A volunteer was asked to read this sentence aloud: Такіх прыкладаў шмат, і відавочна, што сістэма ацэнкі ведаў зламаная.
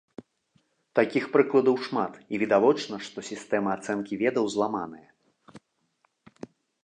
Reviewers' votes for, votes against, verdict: 3, 1, accepted